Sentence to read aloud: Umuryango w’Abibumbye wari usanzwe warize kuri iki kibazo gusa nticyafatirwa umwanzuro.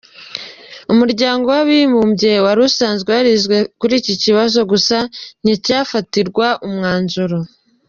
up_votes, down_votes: 0, 2